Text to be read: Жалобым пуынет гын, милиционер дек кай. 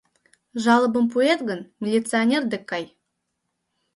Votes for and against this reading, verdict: 1, 2, rejected